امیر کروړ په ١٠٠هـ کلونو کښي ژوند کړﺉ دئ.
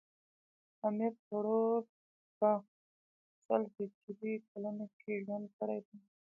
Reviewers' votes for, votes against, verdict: 0, 2, rejected